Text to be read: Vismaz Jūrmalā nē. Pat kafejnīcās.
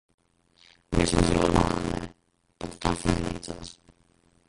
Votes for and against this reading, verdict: 0, 2, rejected